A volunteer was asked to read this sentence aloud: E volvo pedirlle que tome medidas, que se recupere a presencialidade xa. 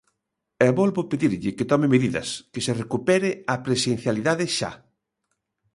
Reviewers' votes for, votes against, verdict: 2, 0, accepted